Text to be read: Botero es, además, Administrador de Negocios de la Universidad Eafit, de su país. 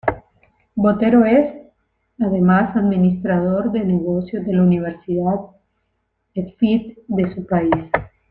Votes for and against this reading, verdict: 2, 0, accepted